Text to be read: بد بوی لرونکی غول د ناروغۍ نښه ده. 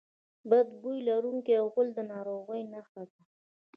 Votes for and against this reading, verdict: 2, 1, accepted